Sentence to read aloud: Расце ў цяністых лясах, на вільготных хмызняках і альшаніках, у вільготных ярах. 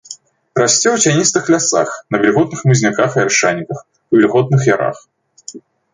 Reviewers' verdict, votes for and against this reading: rejected, 1, 2